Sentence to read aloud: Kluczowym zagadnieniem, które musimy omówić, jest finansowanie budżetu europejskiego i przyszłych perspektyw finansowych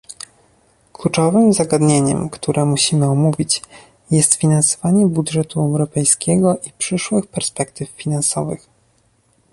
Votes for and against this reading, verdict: 2, 0, accepted